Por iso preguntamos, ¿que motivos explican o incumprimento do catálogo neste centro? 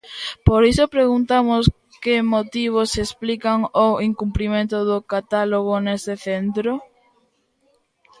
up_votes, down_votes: 1, 2